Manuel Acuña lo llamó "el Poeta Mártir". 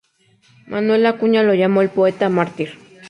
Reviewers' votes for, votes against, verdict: 2, 0, accepted